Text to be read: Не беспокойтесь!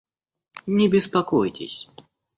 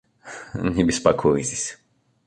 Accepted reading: first